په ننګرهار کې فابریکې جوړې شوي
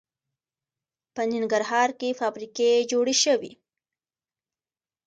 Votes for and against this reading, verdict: 2, 0, accepted